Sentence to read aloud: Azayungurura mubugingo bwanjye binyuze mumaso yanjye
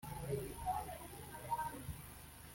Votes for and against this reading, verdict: 0, 2, rejected